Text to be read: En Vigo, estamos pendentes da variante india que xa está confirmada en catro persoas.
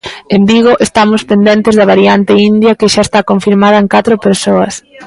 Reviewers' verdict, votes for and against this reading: accepted, 2, 0